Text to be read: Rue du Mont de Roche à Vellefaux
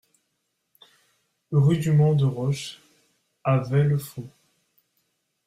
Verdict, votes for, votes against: accepted, 2, 0